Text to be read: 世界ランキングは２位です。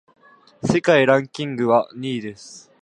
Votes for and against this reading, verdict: 0, 2, rejected